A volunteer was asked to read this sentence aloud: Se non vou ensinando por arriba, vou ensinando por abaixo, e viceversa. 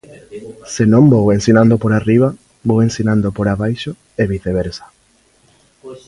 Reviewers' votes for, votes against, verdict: 1, 2, rejected